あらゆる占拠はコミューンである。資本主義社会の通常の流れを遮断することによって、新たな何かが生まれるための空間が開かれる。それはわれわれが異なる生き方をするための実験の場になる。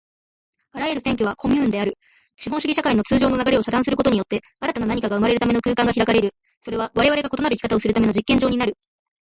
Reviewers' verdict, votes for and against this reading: accepted, 2, 1